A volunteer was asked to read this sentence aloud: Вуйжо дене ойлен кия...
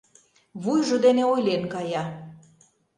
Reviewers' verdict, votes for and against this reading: rejected, 1, 2